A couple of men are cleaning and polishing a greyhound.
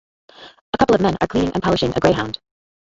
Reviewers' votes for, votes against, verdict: 1, 2, rejected